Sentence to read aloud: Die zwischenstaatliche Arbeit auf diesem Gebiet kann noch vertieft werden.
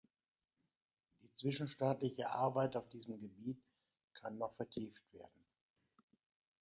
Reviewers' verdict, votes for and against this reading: rejected, 1, 2